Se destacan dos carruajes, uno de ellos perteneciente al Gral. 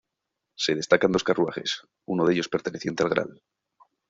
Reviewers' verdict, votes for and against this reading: rejected, 0, 2